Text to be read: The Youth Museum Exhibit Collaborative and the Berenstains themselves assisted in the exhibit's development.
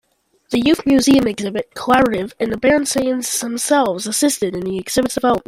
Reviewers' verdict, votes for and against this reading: rejected, 1, 2